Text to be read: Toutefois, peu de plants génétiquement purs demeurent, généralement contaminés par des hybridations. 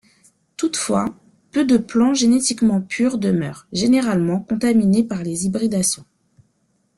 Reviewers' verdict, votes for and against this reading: accepted, 2, 0